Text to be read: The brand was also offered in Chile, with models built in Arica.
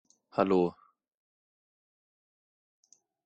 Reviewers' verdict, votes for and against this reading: rejected, 0, 2